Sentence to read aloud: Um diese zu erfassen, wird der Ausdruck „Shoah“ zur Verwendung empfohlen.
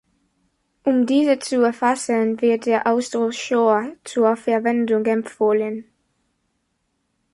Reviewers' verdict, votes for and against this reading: accepted, 2, 0